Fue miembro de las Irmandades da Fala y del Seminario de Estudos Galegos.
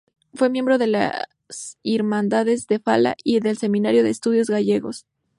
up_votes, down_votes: 0, 2